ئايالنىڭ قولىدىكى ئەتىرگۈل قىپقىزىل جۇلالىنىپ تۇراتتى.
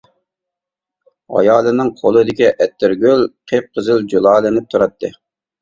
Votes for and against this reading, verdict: 2, 0, accepted